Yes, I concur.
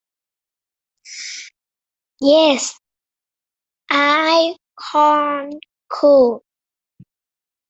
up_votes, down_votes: 0, 2